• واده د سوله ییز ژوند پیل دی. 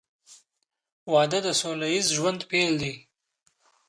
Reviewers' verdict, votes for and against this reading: accepted, 2, 0